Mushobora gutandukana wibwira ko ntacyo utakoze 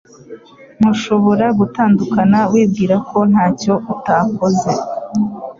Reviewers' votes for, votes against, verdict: 2, 0, accepted